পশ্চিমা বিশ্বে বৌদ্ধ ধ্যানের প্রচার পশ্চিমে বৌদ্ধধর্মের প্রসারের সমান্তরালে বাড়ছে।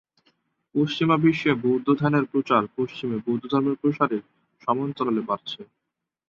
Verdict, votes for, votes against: rejected, 4, 6